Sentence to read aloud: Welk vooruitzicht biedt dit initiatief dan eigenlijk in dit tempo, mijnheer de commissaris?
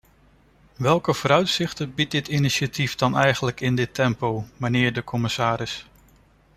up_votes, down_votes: 0, 3